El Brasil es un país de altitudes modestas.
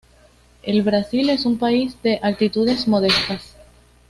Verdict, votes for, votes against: accepted, 2, 0